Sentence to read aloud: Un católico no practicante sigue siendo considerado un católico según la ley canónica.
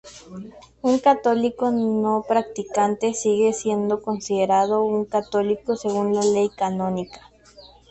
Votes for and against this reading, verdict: 2, 0, accepted